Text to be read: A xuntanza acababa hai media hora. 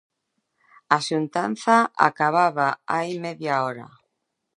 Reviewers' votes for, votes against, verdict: 2, 0, accepted